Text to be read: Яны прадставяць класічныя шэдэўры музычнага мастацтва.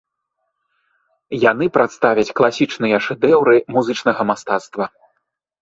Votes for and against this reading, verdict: 2, 0, accepted